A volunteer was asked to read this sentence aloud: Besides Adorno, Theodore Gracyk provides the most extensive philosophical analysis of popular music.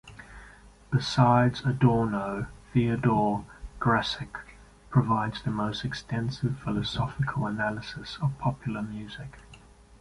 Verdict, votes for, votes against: accepted, 2, 0